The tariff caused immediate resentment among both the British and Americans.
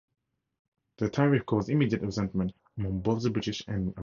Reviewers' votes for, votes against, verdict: 2, 2, rejected